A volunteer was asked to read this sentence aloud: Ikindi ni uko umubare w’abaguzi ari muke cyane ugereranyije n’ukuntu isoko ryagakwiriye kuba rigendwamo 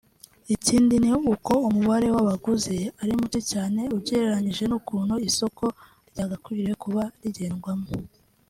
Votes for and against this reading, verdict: 2, 0, accepted